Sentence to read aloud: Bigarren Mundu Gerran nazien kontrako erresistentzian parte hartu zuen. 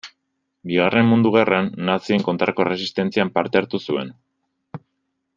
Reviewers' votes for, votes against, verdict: 2, 0, accepted